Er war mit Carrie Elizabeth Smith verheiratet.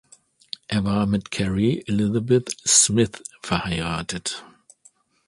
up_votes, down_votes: 2, 0